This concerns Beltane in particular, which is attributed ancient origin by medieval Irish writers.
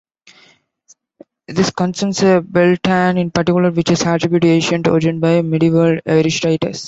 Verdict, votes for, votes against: rejected, 0, 3